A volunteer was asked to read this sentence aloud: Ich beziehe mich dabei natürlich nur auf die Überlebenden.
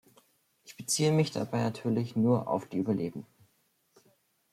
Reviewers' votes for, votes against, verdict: 0, 2, rejected